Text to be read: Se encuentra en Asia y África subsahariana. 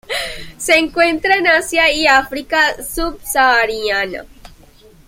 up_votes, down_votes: 0, 2